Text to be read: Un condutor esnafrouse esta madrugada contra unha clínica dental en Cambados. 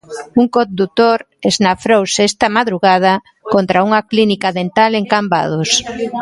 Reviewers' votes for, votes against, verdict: 1, 2, rejected